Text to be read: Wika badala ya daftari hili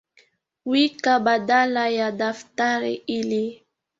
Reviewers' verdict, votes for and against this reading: accepted, 2, 0